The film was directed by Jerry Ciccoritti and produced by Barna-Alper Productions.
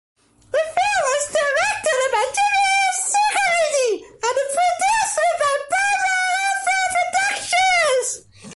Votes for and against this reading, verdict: 0, 2, rejected